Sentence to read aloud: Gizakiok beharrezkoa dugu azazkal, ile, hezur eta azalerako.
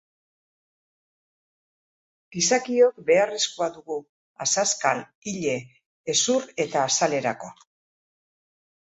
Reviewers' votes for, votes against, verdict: 2, 0, accepted